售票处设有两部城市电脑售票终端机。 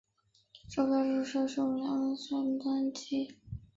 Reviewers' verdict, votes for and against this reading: rejected, 0, 2